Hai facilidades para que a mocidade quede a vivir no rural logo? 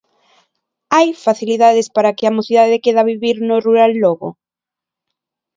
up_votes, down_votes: 0, 2